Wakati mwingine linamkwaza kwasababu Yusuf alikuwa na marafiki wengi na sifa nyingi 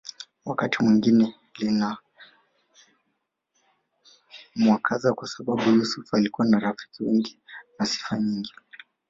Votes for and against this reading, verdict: 2, 3, rejected